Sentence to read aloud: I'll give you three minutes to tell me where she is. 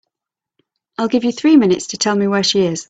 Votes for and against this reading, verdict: 2, 0, accepted